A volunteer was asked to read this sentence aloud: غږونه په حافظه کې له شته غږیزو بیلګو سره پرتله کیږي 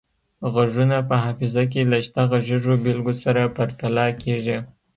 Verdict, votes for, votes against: accepted, 2, 0